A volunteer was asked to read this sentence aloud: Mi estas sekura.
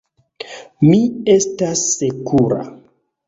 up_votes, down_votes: 2, 1